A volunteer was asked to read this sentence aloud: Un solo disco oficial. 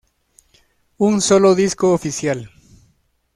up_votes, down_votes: 0, 2